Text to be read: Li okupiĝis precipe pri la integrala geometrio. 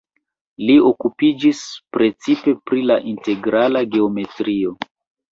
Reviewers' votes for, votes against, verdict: 1, 2, rejected